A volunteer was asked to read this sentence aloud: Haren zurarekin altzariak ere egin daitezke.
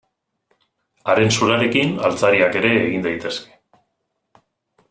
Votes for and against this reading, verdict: 2, 0, accepted